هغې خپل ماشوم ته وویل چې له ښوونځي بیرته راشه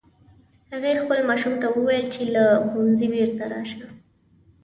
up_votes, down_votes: 2, 0